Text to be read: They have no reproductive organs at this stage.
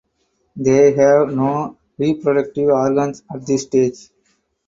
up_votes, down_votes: 4, 0